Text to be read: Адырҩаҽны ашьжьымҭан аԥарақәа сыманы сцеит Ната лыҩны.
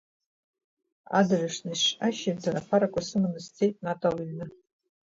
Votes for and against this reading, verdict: 0, 2, rejected